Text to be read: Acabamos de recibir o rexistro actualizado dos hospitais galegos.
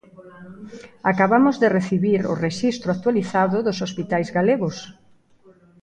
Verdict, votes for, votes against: rejected, 0, 2